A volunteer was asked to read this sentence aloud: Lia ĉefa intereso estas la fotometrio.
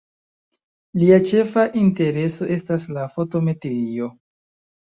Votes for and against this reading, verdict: 2, 1, accepted